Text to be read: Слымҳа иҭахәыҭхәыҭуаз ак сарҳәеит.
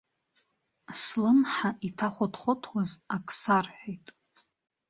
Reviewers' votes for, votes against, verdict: 2, 1, accepted